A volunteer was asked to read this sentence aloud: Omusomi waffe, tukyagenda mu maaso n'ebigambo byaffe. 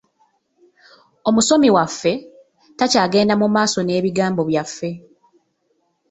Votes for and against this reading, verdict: 1, 2, rejected